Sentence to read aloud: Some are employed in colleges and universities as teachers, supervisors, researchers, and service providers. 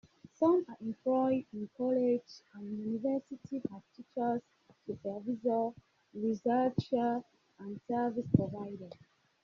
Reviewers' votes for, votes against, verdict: 0, 2, rejected